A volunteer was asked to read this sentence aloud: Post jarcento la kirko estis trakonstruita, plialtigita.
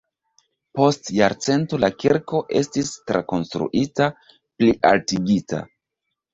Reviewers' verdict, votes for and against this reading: accepted, 2, 1